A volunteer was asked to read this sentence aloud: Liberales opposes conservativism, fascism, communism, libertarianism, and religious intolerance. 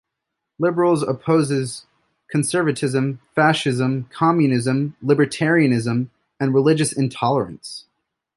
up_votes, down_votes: 2, 0